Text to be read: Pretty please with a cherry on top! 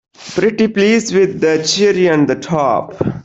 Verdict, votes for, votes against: rejected, 0, 2